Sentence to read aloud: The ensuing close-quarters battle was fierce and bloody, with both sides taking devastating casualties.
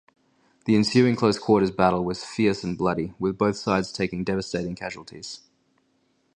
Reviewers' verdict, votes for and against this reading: accepted, 4, 0